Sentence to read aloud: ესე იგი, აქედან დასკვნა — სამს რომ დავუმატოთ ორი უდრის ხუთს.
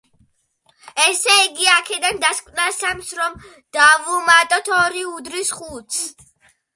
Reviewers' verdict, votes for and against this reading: accepted, 2, 0